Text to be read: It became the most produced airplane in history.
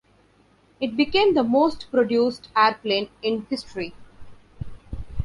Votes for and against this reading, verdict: 2, 0, accepted